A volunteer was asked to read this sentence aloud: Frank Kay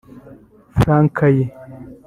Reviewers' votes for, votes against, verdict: 0, 2, rejected